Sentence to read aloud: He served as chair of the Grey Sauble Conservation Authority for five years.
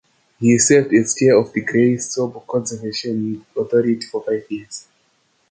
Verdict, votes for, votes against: accepted, 2, 1